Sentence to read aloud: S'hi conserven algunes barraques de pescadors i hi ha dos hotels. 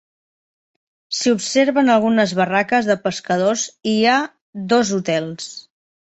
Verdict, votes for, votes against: rejected, 0, 3